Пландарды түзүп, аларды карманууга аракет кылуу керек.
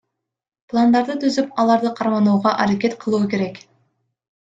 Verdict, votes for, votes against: accepted, 2, 0